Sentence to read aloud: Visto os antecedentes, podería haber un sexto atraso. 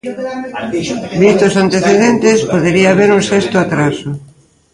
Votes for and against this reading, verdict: 0, 2, rejected